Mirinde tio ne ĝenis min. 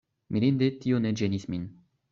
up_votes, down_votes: 2, 0